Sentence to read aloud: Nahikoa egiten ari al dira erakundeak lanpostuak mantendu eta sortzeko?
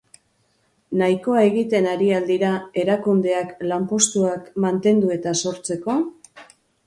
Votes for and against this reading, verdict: 2, 0, accepted